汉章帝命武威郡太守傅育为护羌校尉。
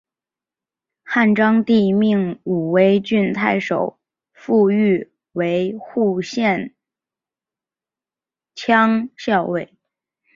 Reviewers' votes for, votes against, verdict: 0, 2, rejected